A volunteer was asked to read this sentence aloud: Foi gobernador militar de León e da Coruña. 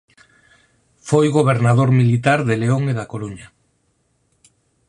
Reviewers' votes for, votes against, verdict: 4, 0, accepted